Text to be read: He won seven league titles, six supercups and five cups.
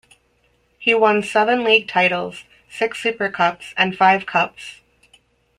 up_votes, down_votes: 3, 0